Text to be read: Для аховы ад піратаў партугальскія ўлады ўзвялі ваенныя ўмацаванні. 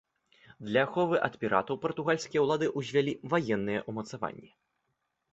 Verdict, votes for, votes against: accepted, 2, 0